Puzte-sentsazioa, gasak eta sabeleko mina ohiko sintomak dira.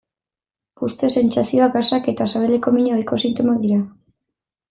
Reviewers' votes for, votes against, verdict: 2, 0, accepted